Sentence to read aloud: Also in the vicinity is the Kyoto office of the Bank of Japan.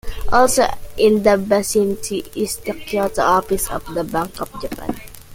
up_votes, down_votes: 2, 1